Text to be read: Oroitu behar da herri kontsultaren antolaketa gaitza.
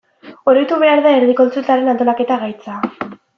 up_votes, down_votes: 2, 0